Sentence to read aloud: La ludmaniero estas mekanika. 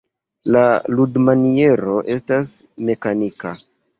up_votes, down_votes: 1, 2